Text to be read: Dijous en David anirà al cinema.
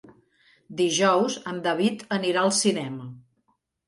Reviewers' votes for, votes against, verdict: 3, 0, accepted